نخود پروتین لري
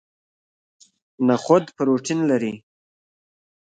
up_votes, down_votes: 2, 1